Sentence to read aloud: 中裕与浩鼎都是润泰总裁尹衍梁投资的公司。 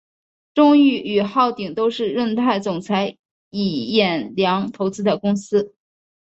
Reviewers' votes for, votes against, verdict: 1, 2, rejected